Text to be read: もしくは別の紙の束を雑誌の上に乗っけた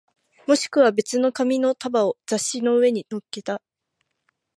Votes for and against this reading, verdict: 18, 0, accepted